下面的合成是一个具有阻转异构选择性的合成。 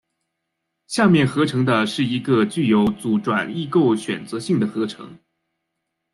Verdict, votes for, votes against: rejected, 0, 2